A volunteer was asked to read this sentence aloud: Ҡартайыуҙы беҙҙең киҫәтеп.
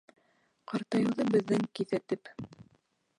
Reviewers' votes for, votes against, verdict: 0, 2, rejected